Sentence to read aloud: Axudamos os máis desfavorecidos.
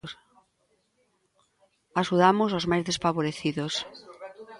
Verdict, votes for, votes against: rejected, 1, 2